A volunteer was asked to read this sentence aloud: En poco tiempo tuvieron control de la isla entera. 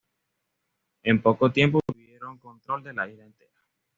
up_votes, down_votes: 1, 2